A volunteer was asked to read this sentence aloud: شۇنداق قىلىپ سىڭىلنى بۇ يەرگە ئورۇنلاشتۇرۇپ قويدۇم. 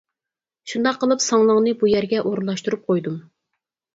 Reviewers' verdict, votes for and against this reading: rejected, 0, 4